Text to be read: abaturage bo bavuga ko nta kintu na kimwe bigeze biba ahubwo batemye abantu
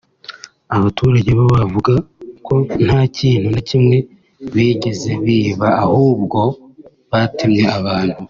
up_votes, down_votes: 3, 0